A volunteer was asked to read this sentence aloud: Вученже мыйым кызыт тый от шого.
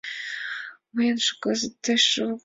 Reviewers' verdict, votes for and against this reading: rejected, 1, 2